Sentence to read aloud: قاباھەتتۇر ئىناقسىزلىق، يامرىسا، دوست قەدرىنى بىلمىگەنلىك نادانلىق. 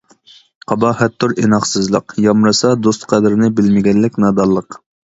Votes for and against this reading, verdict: 2, 0, accepted